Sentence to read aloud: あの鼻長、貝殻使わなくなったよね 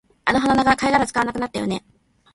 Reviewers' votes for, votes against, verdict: 0, 2, rejected